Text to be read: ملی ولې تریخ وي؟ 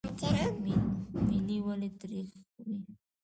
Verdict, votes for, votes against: rejected, 1, 2